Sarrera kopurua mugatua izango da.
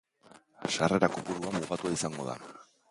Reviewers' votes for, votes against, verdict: 1, 2, rejected